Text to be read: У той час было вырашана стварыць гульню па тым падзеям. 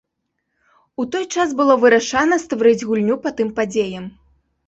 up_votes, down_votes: 0, 2